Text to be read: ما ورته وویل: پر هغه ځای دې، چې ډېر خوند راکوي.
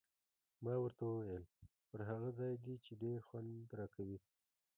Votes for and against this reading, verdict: 1, 2, rejected